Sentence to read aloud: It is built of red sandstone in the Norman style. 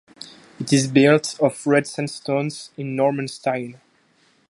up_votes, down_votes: 0, 2